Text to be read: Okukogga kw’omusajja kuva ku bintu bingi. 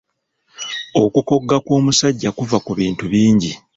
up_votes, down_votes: 1, 2